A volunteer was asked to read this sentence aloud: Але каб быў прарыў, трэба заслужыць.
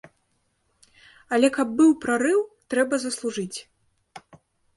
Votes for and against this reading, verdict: 2, 0, accepted